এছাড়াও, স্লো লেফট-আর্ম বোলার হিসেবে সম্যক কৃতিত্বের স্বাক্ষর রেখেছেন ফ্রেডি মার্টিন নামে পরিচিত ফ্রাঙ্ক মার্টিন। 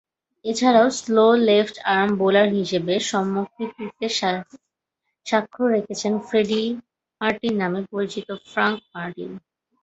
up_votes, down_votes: 2, 2